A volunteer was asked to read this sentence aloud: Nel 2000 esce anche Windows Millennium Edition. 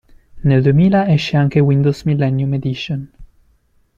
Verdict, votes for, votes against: rejected, 0, 2